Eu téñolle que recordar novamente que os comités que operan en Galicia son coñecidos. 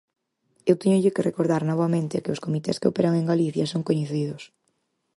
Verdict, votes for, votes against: accepted, 4, 0